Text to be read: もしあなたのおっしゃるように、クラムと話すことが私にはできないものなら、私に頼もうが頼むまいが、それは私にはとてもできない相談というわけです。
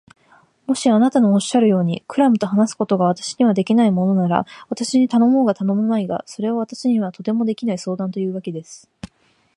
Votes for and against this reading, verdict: 3, 0, accepted